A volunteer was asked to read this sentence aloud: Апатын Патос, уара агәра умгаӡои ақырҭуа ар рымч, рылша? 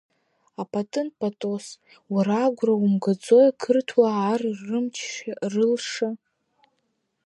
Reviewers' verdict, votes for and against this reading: rejected, 1, 2